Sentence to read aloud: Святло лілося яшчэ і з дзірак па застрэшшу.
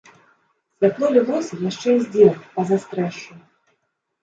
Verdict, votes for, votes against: rejected, 0, 2